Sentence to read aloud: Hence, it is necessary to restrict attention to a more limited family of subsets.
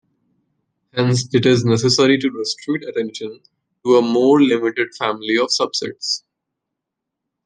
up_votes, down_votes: 2, 0